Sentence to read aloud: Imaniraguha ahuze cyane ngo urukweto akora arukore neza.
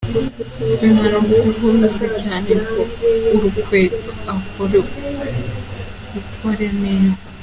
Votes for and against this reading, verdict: 0, 2, rejected